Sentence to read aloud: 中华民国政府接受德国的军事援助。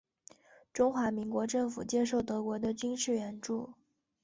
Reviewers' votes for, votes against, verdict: 0, 2, rejected